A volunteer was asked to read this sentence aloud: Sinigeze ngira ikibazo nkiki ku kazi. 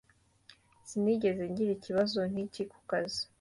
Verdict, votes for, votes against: accepted, 2, 0